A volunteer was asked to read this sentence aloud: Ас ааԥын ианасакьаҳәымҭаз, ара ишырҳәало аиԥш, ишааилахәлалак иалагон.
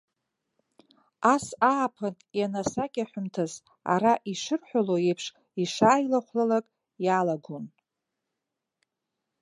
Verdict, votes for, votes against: rejected, 1, 2